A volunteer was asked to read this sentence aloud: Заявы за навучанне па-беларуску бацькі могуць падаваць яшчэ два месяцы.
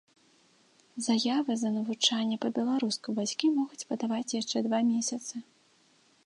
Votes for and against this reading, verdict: 2, 0, accepted